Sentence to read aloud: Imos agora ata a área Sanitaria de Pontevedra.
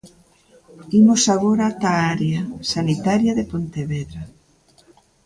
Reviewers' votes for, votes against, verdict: 3, 0, accepted